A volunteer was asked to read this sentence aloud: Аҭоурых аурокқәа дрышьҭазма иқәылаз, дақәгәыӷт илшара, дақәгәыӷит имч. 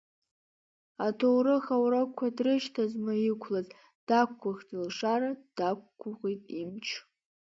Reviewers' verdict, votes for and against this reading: rejected, 1, 2